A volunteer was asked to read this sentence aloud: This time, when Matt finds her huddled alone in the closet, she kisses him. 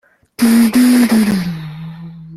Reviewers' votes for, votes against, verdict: 0, 2, rejected